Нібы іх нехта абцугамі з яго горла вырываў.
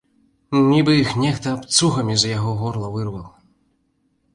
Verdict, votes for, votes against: rejected, 1, 2